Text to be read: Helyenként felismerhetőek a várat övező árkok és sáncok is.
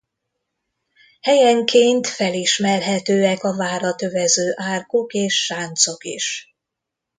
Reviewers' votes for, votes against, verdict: 2, 0, accepted